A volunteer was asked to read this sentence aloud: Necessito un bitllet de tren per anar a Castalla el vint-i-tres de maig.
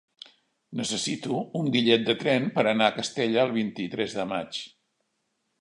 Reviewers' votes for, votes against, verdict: 1, 2, rejected